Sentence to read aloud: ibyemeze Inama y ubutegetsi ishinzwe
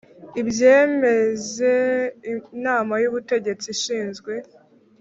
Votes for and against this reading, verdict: 1, 2, rejected